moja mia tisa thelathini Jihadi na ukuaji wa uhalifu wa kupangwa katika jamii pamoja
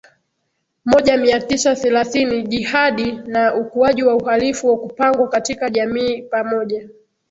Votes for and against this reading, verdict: 2, 0, accepted